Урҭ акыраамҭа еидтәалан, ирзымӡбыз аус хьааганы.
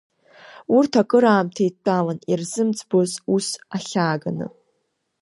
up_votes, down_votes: 1, 2